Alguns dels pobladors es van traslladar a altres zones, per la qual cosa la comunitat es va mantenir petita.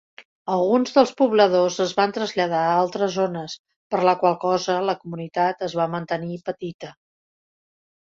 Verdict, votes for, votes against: accepted, 2, 0